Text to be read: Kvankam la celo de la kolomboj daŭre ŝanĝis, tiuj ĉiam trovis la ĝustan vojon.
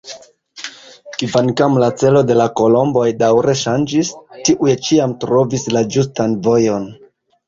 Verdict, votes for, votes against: rejected, 0, 2